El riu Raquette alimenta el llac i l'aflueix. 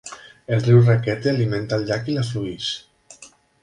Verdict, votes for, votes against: rejected, 0, 2